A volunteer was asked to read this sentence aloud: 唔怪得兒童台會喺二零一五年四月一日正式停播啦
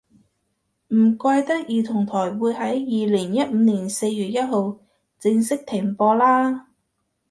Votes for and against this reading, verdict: 1, 2, rejected